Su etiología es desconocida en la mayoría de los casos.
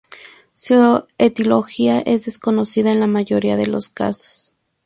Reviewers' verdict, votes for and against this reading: rejected, 0, 2